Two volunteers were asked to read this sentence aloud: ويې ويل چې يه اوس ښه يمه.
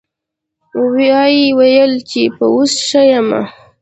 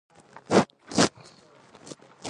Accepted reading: first